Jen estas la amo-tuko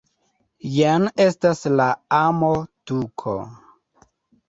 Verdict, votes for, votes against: accepted, 2, 0